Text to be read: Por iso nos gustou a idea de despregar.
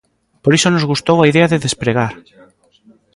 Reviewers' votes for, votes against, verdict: 2, 0, accepted